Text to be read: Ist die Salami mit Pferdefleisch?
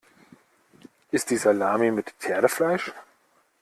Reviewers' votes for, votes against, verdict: 2, 0, accepted